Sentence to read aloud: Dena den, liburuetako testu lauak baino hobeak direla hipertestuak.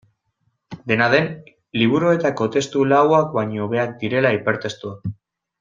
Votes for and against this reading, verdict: 2, 0, accepted